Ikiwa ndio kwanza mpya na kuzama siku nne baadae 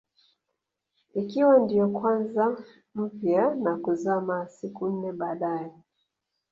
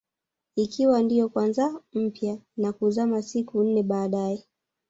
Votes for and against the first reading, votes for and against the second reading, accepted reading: 2, 0, 1, 2, first